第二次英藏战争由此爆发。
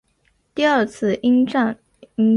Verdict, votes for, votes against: rejected, 1, 3